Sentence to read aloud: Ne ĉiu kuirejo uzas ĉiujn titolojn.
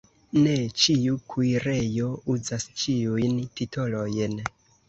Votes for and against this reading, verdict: 2, 0, accepted